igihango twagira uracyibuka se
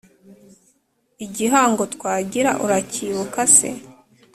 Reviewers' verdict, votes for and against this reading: accepted, 2, 0